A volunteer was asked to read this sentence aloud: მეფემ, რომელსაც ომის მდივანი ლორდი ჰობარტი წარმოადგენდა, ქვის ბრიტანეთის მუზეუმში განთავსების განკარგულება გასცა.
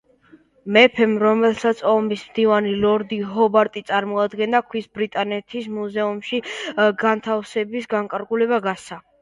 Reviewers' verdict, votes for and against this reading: accepted, 2, 0